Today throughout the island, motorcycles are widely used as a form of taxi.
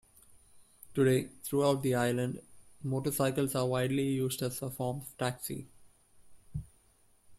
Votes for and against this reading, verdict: 2, 0, accepted